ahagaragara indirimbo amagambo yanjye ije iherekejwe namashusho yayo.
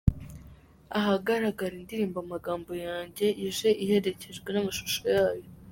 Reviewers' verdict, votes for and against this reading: accepted, 2, 1